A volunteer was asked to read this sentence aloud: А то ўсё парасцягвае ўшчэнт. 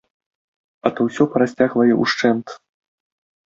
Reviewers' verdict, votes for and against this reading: accepted, 2, 0